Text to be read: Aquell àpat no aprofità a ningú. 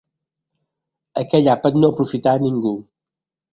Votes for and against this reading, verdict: 3, 0, accepted